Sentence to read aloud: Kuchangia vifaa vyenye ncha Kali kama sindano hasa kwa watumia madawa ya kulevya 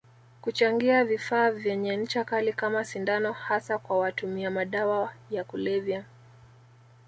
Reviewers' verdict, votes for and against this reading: accepted, 3, 0